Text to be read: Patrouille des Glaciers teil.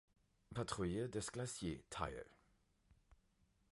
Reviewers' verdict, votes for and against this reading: rejected, 1, 2